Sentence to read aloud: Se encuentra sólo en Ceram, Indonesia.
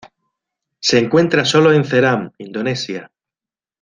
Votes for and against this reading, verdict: 2, 0, accepted